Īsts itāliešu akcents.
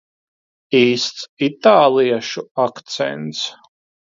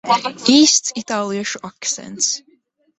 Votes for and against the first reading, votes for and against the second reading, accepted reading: 2, 0, 0, 2, first